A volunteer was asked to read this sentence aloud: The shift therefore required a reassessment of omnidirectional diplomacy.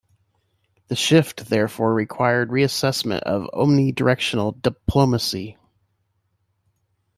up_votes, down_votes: 1, 2